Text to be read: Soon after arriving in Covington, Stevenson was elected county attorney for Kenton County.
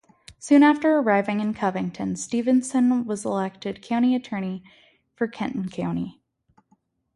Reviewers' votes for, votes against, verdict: 2, 0, accepted